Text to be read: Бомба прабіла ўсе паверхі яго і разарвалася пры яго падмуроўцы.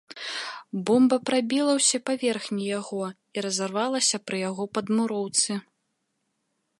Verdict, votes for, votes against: rejected, 2, 3